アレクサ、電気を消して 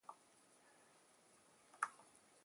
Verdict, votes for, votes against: rejected, 0, 4